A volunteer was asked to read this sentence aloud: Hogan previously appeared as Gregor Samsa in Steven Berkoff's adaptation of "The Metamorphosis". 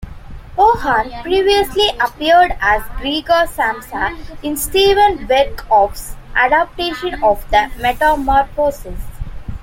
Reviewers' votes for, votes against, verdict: 2, 1, accepted